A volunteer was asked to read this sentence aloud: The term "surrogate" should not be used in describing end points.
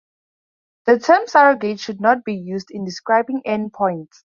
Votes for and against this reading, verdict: 4, 0, accepted